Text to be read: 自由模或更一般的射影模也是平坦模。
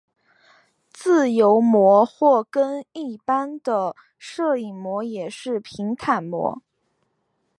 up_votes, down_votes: 0, 2